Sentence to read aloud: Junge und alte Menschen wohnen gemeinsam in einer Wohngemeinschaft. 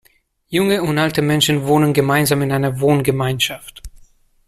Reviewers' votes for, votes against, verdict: 2, 0, accepted